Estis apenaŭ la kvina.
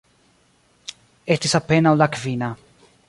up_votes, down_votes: 1, 2